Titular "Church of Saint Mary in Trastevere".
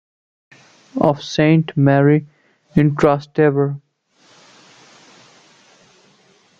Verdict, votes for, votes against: rejected, 0, 2